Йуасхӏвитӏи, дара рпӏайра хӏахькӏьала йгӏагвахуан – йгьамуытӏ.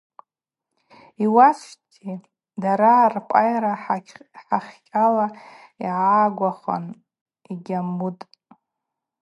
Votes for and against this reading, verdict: 4, 0, accepted